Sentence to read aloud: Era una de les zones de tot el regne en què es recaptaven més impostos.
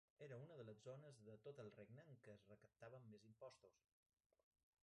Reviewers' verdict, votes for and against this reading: rejected, 0, 2